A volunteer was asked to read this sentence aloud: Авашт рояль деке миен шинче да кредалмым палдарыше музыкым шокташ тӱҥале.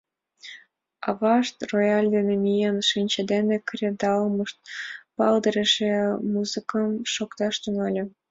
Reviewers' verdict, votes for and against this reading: rejected, 1, 2